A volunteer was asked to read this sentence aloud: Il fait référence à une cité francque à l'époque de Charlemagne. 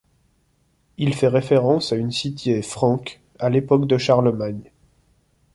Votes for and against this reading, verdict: 0, 2, rejected